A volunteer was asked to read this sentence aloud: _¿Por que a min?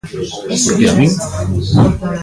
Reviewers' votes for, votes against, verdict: 0, 2, rejected